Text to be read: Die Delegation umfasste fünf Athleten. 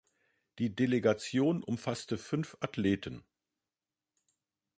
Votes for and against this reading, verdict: 2, 0, accepted